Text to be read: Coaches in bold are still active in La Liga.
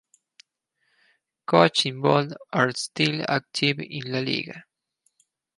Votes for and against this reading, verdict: 2, 2, rejected